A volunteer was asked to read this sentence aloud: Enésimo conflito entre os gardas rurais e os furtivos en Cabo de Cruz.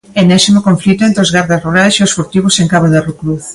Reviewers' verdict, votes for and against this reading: rejected, 0, 2